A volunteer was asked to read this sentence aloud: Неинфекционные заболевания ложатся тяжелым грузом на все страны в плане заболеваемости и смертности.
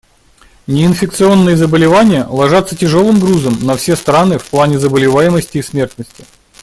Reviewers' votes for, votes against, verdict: 2, 0, accepted